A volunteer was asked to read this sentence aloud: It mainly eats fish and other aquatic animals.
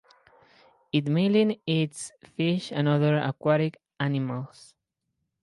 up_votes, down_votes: 0, 2